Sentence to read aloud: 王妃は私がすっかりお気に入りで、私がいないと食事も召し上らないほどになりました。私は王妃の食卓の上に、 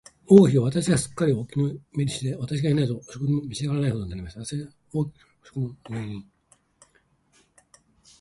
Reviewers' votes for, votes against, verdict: 2, 1, accepted